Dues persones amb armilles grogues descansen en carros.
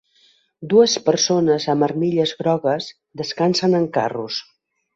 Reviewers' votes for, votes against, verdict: 2, 0, accepted